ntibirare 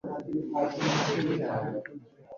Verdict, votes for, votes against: rejected, 1, 2